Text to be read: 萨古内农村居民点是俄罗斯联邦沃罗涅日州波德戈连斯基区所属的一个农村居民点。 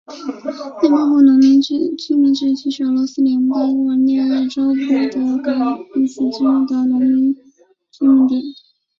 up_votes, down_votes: 0, 2